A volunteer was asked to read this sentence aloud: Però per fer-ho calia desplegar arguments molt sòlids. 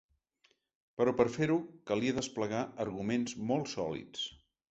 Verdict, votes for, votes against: accepted, 4, 0